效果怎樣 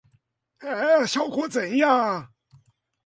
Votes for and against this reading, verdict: 2, 0, accepted